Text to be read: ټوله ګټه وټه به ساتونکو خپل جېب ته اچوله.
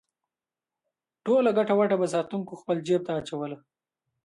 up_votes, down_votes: 2, 0